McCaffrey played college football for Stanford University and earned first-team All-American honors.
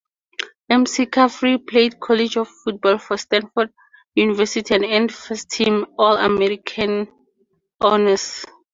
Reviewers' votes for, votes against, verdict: 2, 0, accepted